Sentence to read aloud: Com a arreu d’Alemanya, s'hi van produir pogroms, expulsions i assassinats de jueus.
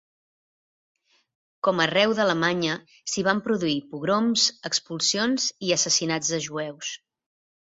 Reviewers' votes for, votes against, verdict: 3, 0, accepted